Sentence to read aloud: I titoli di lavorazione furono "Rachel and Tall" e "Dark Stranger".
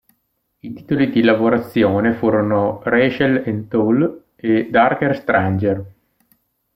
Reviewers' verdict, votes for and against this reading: rejected, 0, 2